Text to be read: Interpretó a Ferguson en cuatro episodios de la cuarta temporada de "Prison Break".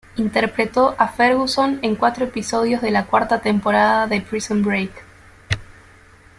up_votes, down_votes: 2, 0